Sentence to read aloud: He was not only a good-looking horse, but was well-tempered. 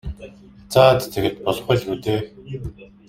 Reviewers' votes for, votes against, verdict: 0, 2, rejected